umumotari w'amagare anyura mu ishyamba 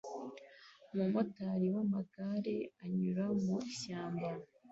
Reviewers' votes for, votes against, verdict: 2, 1, accepted